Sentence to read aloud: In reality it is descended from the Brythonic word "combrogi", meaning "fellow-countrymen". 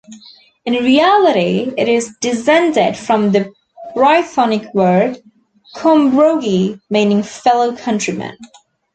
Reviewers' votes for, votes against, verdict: 2, 0, accepted